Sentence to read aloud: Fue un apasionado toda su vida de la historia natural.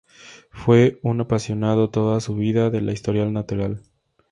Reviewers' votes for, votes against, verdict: 2, 0, accepted